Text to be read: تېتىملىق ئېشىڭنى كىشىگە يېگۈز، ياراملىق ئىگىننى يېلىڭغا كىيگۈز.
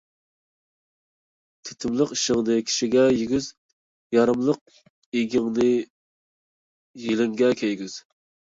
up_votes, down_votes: 0, 2